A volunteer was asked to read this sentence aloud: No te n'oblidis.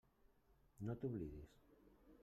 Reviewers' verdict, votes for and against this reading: rejected, 1, 2